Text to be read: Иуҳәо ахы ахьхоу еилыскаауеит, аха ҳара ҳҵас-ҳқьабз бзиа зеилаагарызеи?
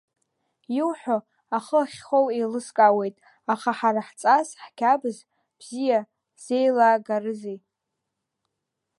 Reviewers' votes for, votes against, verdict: 2, 0, accepted